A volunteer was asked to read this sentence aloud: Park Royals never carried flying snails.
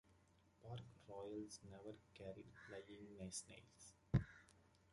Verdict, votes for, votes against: rejected, 0, 2